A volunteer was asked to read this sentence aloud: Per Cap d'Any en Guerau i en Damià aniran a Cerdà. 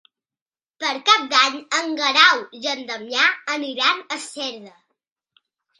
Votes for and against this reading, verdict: 0, 2, rejected